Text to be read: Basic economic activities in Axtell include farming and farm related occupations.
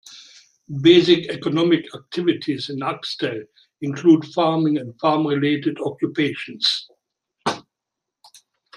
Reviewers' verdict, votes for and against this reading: rejected, 1, 2